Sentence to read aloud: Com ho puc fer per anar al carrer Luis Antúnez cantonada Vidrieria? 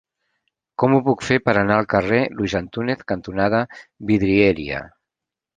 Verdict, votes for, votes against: rejected, 0, 2